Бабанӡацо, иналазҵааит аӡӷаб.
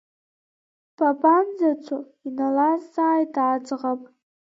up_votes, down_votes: 2, 1